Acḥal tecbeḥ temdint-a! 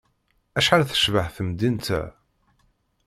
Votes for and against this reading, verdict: 2, 0, accepted